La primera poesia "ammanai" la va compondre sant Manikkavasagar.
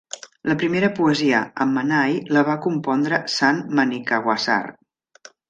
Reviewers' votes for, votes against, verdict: 1, 2, rejected